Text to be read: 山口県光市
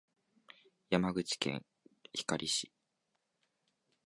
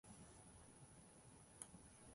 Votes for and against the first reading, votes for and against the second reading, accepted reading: 3, 0, 1, 2, first